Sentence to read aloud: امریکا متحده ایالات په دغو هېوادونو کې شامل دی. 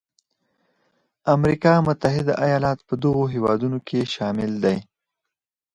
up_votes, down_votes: 4, 0